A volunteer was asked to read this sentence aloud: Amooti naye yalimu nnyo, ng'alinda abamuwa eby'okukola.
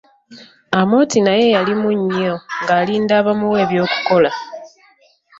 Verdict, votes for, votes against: accepted, 2, 0